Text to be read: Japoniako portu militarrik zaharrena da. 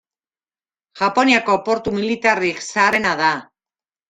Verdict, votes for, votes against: rejected, 1, 2